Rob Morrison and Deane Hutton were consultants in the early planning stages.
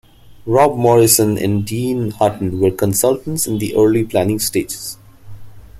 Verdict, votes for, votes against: rejected, 1, 2